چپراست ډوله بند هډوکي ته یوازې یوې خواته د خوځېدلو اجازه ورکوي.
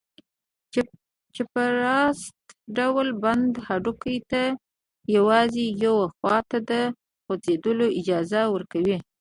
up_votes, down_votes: 2, 1